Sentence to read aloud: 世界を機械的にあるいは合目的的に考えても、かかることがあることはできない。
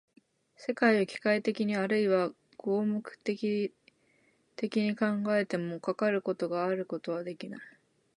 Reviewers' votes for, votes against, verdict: 1, 2, rejected